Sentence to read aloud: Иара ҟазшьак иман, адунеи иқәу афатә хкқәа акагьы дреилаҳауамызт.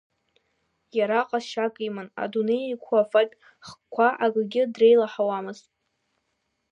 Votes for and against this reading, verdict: 3, 0, accepted